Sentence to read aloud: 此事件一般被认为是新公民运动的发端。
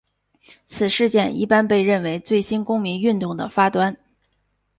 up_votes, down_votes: 3, 2